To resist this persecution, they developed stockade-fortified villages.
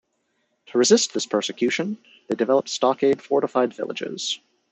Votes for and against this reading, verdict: 2, 1, accepted